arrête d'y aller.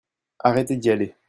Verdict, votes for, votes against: rejected, 1, 2